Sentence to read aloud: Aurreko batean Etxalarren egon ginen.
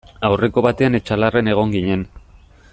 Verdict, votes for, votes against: accepted, 2, 0